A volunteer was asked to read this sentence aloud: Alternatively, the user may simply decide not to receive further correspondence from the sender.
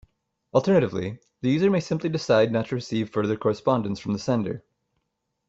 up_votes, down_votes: 2, 0